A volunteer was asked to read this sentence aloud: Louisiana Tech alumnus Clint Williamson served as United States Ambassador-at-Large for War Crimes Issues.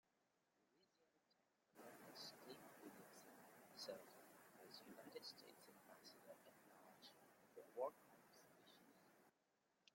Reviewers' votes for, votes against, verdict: 0, 2, rejected